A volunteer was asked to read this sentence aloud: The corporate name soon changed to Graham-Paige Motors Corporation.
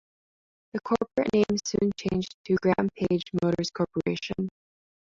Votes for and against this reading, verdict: 1, 2, rejected